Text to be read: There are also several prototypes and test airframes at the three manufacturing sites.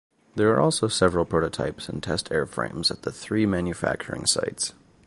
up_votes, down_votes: 2, 0